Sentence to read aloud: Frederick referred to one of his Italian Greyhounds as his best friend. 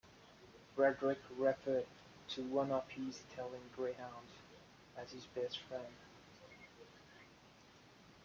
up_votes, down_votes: 2, 0